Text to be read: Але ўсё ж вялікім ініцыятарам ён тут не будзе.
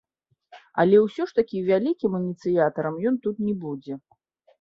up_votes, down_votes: 0, 2